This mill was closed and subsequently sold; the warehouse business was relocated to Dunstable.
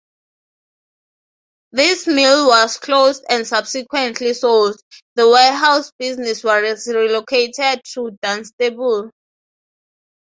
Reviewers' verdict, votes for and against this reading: rejected, 0, 3